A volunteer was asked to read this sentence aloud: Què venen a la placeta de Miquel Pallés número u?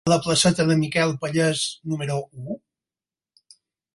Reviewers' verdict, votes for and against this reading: rejected, 2, 4